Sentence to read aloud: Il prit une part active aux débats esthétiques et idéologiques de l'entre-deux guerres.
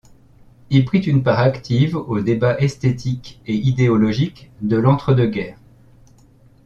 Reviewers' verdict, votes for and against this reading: accepted, 2, 0